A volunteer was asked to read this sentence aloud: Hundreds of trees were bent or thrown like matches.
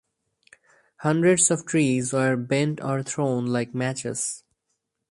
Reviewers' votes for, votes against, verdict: 2, 0, accepted